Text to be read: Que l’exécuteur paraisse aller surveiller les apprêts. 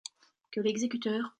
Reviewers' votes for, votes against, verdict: 0, 2, rejected